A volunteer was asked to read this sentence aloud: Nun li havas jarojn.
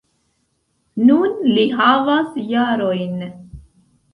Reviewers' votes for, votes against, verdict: 2, 0, accepted